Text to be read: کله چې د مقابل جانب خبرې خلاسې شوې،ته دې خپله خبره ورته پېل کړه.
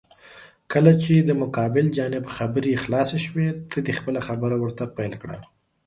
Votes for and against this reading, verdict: 4, 0, accepted